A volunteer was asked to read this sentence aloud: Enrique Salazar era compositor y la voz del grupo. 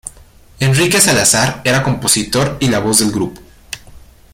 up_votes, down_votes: 2, 0